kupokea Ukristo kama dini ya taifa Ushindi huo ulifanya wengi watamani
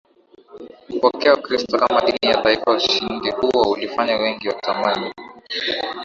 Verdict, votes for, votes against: rejected, 1, 2